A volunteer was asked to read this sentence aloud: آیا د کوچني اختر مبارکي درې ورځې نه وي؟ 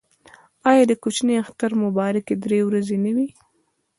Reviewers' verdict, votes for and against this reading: accepted, 2, 0